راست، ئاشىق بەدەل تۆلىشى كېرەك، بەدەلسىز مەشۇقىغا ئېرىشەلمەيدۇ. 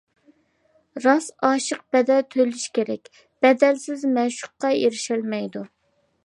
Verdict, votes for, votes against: rejected, 0, 2